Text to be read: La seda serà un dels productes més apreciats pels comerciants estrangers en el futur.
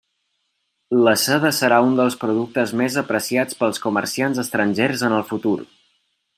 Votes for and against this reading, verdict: 3, 0, accepted